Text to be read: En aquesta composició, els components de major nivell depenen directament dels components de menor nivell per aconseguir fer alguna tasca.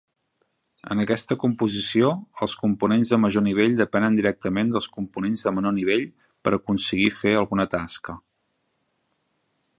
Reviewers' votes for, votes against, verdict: 3, 0, accepted